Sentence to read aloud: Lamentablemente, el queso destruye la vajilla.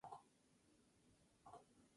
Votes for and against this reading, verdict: 0, 2, rejected